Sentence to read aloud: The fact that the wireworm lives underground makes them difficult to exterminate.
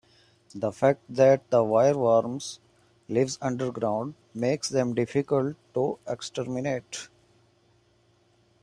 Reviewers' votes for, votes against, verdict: 2, 0, accepted